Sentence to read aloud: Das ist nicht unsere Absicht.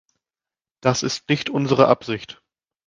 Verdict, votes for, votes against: accepted, 2, 0